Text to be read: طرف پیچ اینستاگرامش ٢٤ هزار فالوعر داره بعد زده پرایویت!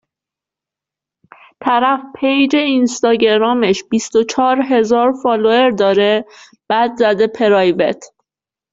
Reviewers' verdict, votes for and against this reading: rejected, 0, 2